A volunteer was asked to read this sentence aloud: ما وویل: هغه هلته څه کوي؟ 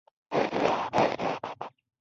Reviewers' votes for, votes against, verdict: 2, 0, accepted